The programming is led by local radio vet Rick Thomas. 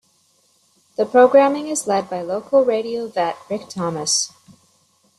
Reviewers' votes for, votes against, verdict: 1, 2, rejected